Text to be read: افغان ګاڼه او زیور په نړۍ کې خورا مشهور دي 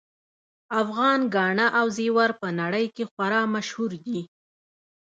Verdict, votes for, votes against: accepted, 2, 0